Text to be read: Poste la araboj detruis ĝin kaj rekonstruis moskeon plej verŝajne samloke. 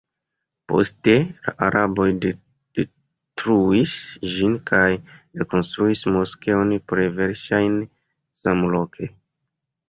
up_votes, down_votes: 2, 1